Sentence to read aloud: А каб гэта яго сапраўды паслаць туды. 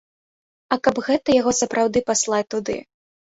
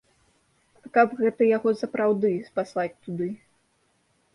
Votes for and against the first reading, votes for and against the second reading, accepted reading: 3, 0, 0, 2, first